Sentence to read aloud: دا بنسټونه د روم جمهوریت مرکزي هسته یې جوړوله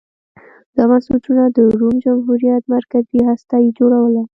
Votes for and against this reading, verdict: 2, 0, accepted